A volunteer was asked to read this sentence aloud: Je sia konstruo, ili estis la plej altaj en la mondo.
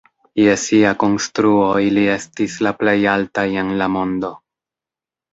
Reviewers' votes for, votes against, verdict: 2, 0, accepted